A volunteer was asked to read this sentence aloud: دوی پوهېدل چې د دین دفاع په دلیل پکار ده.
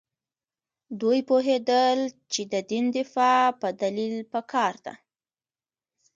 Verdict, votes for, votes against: accepted, 2, 0